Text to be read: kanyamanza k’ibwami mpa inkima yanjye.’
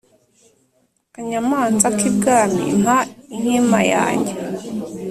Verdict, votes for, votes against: accepted, 2, 0